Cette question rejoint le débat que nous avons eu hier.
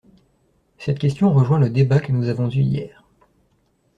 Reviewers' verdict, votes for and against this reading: accepted, 2, 0